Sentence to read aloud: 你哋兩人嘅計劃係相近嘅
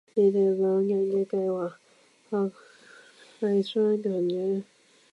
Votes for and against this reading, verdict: 0, 2, rejected